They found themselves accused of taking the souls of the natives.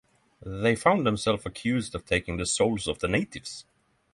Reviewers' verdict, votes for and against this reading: accepted, 9, 0